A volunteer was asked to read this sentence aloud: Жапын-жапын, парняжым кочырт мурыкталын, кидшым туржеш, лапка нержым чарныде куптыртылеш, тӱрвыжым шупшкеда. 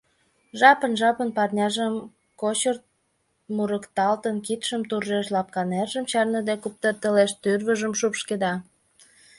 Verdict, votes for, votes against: rejected, 0, 2